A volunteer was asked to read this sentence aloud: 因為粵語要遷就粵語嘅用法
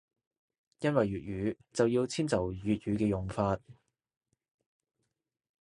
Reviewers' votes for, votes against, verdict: 1, 3, rejected